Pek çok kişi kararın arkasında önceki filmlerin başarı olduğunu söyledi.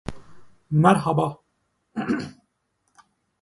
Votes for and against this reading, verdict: 0, 2, rejected